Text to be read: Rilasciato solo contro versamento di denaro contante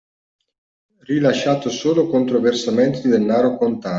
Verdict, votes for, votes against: rejected, 0, 2